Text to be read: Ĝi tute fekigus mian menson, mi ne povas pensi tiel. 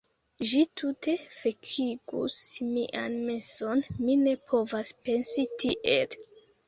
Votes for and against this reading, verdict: 0, 2, rejected